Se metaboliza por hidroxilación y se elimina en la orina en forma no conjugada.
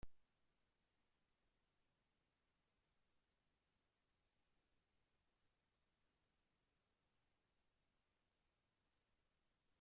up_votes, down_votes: 0, 2